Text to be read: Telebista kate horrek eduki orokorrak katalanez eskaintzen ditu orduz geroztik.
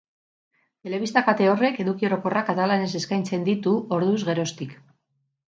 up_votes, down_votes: 2, 2